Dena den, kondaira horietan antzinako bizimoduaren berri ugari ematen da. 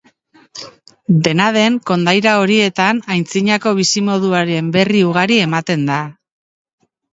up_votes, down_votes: 1, 2